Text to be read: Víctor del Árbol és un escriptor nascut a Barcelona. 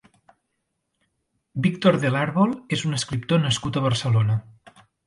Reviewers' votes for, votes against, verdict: 4, 0, accepted